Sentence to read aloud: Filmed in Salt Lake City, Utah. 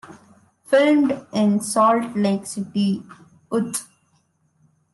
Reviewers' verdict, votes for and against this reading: rejected, 0, 2